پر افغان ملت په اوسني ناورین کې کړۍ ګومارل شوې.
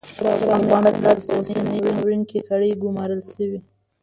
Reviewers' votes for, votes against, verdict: 0, 2, rejected